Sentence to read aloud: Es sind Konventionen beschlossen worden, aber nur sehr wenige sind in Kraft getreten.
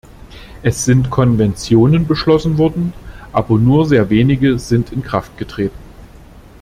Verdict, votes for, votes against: accepted, 2, 0